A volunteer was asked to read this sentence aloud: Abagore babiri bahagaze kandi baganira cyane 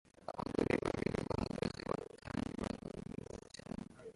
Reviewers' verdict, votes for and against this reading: rejected, 0, 2